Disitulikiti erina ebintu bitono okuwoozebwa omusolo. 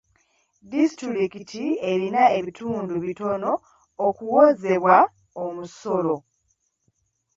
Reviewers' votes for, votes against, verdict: 1, 2, rejected